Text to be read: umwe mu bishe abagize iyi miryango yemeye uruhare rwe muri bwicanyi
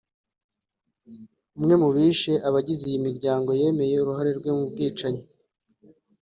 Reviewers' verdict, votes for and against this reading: accepted, 3, 0